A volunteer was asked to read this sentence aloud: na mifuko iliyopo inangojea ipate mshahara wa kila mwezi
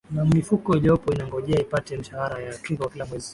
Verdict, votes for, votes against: accepted, 3, 0